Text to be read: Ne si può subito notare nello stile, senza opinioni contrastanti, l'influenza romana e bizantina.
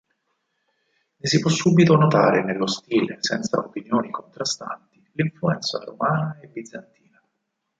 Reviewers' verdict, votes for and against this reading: rejected, 2, 4